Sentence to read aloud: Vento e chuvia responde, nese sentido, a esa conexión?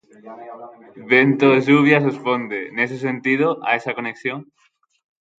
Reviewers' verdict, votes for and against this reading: rejected, 3, 6